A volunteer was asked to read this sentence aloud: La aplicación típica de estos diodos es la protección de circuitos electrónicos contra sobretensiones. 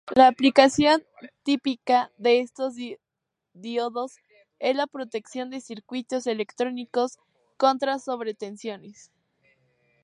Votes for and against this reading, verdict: 0, 2, rejected